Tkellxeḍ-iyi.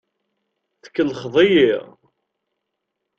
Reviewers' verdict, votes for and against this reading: accepted, 2, 0